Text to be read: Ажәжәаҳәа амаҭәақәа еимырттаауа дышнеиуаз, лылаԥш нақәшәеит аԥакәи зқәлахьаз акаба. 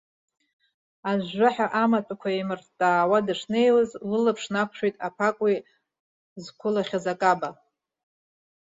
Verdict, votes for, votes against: rejected, 0, 2